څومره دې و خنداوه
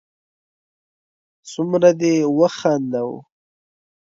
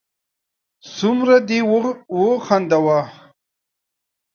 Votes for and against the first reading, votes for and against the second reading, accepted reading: 2, 0, 1, 2, first